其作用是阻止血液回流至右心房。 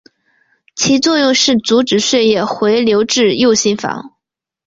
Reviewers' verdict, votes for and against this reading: accepted, 4, 0